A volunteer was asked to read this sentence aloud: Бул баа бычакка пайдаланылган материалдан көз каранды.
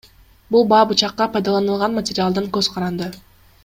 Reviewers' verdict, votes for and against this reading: accepted, 2, 0